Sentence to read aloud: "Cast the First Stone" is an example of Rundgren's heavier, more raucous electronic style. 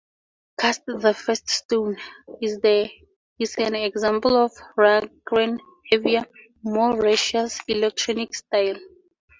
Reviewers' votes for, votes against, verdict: 4, 2, accepted